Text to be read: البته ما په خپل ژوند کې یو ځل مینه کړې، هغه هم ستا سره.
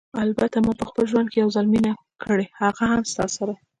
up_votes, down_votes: 2, 0